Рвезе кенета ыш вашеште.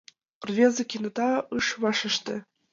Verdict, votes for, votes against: rejected, 1, 2